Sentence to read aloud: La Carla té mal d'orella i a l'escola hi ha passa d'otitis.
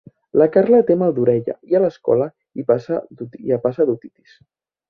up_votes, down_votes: 0, 3